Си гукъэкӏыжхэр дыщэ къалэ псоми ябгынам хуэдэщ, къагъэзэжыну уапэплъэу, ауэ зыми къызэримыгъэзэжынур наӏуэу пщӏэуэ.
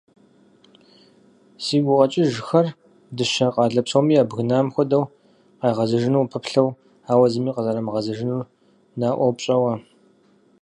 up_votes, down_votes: 2, 4